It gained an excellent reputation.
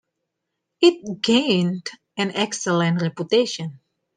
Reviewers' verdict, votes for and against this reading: accepted, 2, 0